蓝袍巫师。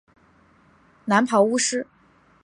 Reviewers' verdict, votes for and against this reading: accepted, 9, 0